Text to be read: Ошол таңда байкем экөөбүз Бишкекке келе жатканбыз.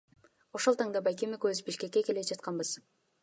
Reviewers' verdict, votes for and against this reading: accepted, 2, 1